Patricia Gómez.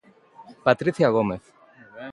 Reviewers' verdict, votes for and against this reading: accepted, 2, 0